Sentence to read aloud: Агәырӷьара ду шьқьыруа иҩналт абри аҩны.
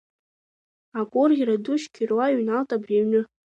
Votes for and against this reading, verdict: 2, 0, accepted